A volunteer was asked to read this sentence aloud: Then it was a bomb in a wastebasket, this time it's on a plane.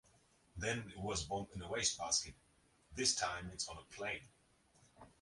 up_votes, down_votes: 0, 2